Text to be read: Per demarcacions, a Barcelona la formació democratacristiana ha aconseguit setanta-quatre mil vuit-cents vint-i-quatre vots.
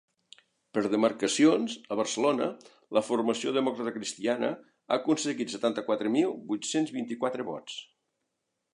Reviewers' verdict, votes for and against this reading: accepted, 2, 0